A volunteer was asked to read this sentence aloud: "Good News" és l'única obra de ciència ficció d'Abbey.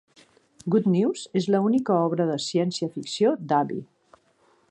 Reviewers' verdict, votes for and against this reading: rejected, 1, 2